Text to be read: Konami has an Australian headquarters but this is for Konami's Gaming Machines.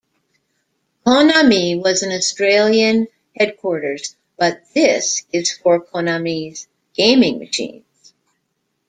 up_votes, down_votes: 1, 2